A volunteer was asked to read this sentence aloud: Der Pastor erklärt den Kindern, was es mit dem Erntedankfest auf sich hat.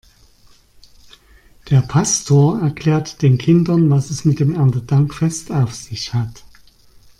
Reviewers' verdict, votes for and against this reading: accepted, 2, 0